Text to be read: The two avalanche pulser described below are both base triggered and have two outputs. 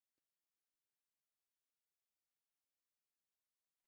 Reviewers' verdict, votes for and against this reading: rejected, 0, 2